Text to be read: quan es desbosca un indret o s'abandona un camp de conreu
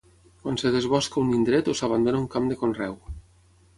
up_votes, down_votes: 3, 6